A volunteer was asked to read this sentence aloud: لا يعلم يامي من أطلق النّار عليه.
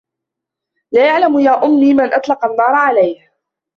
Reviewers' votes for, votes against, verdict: 1, 2, rejected